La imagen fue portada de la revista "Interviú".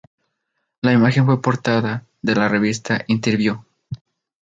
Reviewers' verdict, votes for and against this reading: accepted, 2, 0